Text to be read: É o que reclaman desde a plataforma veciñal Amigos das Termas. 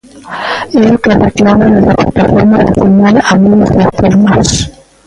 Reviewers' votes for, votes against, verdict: 0, 2, rejected